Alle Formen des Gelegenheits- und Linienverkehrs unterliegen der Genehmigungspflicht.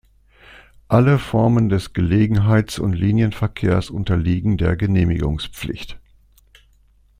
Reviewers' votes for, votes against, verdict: 2, 0, accepted